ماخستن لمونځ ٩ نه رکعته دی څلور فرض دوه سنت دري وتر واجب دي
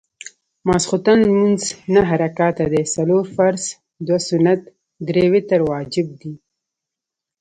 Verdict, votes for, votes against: rejected, 0, 2